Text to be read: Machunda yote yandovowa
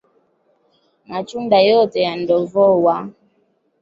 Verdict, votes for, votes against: rejected, 1, 2